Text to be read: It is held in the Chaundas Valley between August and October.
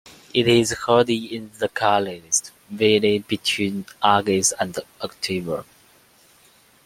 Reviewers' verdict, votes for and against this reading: rejected, 0, 2